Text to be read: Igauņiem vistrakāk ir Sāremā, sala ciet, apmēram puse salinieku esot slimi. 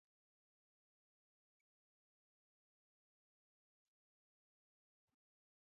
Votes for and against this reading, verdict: 0, 2, rejected